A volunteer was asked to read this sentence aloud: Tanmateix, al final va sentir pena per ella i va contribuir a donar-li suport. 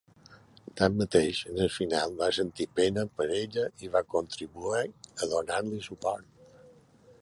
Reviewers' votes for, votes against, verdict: 1, 2, rejected